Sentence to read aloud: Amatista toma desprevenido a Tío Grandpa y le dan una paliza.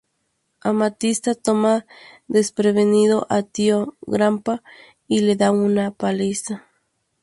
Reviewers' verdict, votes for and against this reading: rejected, 0, 2